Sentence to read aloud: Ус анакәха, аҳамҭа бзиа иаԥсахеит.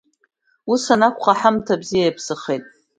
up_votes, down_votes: 2, 0